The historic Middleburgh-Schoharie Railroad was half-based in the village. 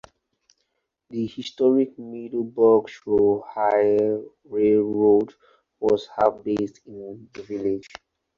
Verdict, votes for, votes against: rejected, 0, 2